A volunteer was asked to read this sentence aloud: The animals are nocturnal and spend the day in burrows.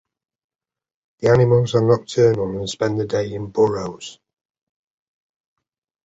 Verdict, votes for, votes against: accepted, 2, 0